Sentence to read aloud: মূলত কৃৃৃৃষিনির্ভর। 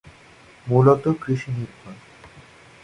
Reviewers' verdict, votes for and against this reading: accepted, 2, 1